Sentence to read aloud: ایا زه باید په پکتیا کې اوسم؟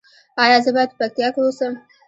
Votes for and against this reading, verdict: 0, 2, rejected